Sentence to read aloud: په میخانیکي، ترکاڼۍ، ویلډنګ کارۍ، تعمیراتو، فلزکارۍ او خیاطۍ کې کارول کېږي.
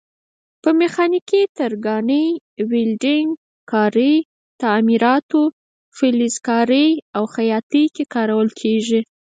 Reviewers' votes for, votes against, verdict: 2, 4, rejected